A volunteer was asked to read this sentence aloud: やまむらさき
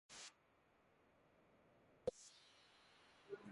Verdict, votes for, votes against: rejected, 0, 2